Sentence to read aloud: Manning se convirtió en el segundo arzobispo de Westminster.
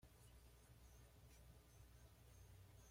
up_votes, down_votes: 1, 2